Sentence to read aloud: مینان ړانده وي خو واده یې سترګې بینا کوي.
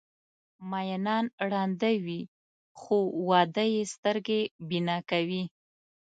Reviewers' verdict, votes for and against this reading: accepted, 2, 0